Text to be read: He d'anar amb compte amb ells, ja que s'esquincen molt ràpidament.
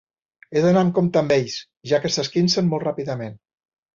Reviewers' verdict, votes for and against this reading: accepted, 2, 0